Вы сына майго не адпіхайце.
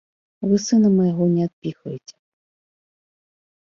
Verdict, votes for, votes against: rejected, 1, 2